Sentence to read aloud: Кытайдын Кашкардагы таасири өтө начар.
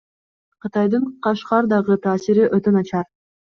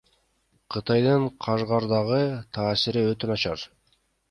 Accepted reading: first